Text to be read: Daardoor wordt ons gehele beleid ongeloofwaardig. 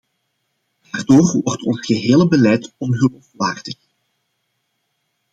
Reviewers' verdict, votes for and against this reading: rejected, 1, 2